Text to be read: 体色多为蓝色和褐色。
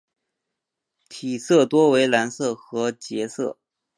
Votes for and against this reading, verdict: 1, 2, rejected